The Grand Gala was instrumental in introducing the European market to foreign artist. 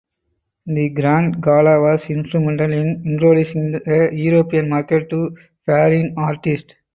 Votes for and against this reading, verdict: 2, 2, rejected